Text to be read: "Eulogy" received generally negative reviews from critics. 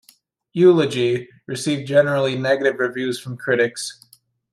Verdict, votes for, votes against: accepted, 2, 0